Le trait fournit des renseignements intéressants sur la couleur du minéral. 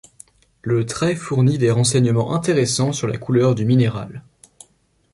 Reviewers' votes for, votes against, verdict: 2, 0, accepted